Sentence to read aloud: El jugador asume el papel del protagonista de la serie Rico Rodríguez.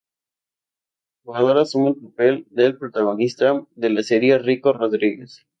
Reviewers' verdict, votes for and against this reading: accepted, 4, 2